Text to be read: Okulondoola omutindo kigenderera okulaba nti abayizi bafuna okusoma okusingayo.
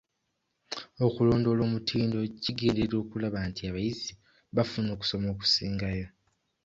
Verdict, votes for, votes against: accepted, 2, 0